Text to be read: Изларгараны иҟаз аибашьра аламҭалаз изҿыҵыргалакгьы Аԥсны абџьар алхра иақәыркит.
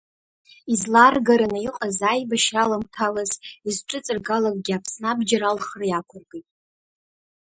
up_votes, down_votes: 2, 0